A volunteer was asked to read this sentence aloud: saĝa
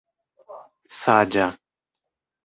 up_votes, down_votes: 0, 2